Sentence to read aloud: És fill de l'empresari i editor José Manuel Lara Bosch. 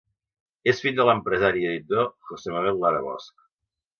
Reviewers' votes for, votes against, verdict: 1, 2, rejected